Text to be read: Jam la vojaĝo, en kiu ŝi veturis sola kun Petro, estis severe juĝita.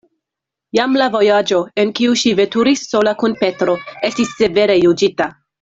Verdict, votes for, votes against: accepted, 2, 1